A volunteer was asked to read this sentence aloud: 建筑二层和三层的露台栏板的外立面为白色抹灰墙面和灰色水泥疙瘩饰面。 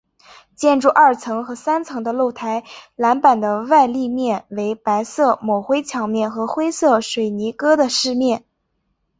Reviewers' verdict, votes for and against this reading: accepted, 3, 0